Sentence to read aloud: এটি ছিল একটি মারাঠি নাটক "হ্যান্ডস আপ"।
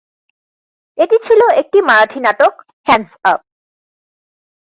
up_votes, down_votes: 0, 4